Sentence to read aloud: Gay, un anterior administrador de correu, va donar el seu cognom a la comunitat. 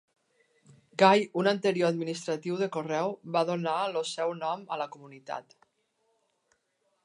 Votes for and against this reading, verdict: 0, 2, rejected